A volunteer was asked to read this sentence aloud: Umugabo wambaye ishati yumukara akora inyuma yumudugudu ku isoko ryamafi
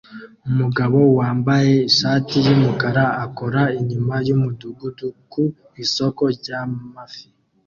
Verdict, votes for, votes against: accepted, 2, 1